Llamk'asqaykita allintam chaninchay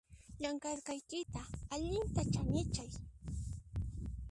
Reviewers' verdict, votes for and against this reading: rejected, 1, 2